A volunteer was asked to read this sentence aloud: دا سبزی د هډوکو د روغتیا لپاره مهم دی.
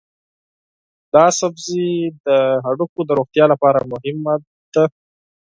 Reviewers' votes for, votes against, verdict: 0, 4, rejected